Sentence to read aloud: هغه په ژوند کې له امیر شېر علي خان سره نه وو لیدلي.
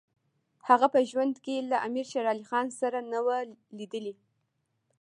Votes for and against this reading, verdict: 2, 1, accepted